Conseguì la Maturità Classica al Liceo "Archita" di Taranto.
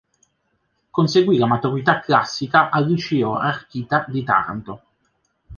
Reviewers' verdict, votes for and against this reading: accepted, 2, 1